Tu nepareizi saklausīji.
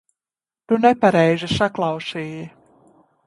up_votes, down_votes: 2, 0